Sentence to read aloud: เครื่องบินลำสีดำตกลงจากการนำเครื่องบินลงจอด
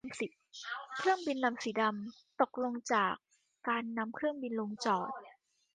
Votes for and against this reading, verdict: 0, 2, rejected